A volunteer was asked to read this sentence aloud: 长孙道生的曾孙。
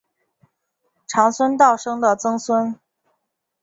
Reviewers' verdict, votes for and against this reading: accepted, 4, 0